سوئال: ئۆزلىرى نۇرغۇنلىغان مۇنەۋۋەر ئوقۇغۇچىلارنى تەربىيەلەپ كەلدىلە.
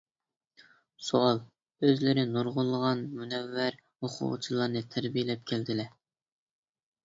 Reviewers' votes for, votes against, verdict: 2, 0, accepted